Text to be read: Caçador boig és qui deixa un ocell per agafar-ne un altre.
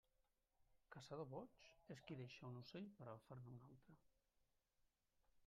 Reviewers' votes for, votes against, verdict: 0, 2, rejected